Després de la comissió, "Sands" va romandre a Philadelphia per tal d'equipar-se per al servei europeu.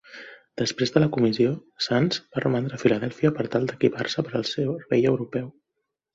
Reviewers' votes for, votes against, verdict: 2, 3, rejected